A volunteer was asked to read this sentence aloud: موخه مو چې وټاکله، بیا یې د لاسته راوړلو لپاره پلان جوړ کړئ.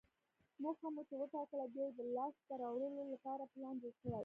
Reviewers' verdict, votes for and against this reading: rejected, 1, 2